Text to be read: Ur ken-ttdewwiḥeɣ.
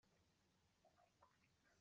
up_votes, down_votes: 0, 2